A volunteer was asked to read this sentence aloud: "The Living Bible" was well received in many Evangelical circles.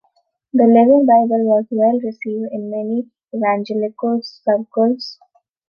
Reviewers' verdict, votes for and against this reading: accepted, 2, 0